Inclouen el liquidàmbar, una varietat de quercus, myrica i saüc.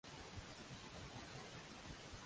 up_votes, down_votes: 0, 2